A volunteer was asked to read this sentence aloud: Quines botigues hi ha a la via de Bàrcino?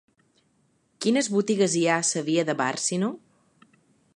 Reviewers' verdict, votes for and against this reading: accepted, 2, 1